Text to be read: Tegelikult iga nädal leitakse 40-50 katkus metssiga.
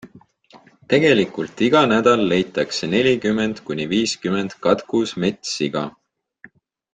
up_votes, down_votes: 0, 2